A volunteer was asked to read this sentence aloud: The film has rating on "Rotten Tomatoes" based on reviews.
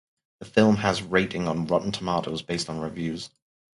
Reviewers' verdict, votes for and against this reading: accepted, 4, 0